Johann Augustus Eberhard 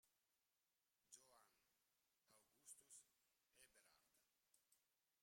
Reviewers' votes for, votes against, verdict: 0, 2, rejected